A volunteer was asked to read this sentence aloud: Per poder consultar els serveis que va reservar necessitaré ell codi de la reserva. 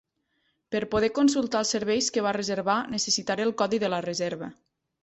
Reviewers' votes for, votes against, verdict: 2, 0, accepted